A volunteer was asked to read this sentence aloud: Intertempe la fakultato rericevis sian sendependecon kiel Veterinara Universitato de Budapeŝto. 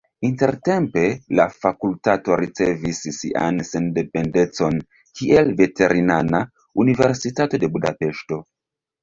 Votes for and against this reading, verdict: 1, 2, rejected